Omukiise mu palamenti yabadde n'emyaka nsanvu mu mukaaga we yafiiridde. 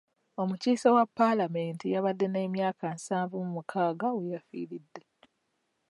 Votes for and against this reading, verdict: 1, 2, rejected